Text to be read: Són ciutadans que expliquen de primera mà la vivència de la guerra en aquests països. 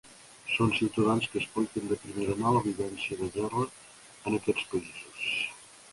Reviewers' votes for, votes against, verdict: 2, 0, accepted